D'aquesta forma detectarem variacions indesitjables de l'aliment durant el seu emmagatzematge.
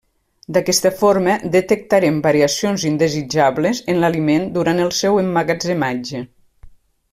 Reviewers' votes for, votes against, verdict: 0, 2, rejected